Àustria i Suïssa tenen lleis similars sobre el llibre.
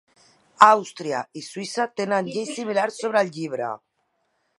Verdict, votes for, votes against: accepted, 2, 1